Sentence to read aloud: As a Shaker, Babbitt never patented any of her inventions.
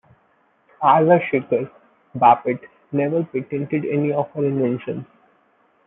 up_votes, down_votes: 1, 2